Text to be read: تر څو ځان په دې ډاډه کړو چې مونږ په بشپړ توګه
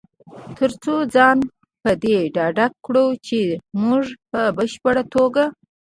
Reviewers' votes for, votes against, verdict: 2, 1, accepted